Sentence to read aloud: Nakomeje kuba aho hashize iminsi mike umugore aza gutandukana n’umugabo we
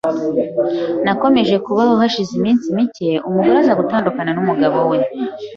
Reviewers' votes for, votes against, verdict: 2, 0, accepted